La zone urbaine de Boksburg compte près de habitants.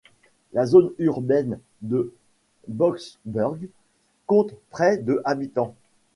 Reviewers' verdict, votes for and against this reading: rejected, 1, 2